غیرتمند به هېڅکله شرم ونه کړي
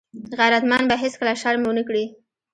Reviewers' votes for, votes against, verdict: 2, 0, accepted